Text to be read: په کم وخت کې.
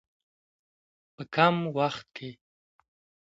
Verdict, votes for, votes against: accepted, 2, 0